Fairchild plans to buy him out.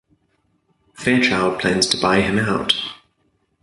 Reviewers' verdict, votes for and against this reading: accepted, 2, 1